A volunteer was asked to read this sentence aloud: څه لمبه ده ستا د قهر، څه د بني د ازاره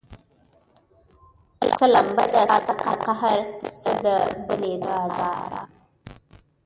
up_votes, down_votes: 1, 2